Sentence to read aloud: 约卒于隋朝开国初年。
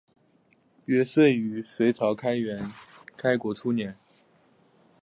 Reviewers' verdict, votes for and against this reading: rejected, 0, 2